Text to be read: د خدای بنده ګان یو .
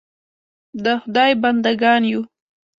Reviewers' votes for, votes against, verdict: 2, 0, accepted